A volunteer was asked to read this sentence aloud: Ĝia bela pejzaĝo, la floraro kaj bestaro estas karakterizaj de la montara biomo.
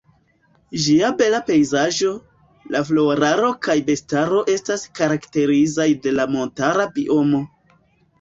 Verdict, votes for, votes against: accepted, 2, 0